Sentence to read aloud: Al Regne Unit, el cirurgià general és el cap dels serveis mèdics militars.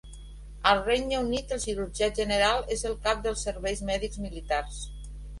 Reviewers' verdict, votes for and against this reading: accepted, 2, 0